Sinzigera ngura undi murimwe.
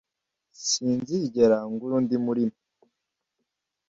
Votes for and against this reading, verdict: 1, 2, rejected